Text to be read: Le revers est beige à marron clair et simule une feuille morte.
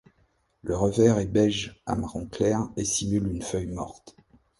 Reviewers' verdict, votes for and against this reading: accepted, 2, 0